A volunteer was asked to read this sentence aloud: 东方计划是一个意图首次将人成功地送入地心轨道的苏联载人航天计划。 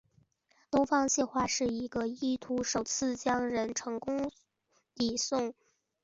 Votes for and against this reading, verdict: 6, 2, accepted